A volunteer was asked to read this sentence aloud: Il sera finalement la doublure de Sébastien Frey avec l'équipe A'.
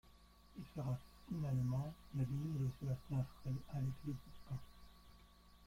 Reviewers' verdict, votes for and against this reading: rejected, 0, 2